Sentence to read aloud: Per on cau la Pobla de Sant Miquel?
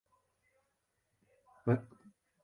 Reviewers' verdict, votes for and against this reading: rejected, 0, 2